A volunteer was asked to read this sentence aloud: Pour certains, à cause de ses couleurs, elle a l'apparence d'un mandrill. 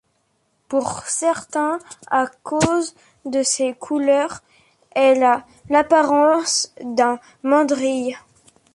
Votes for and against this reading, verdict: 2, 1, accepted